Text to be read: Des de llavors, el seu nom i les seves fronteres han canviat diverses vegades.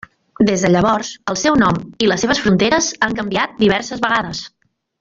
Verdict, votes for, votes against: accepted, 3, 0